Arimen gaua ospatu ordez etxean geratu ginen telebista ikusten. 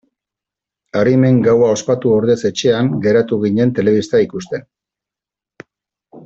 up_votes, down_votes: 2, 0